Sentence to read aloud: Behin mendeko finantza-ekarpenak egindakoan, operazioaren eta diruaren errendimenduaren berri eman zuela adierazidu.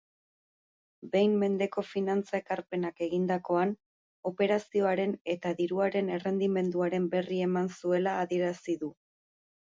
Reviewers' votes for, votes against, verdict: 4, 2, accepted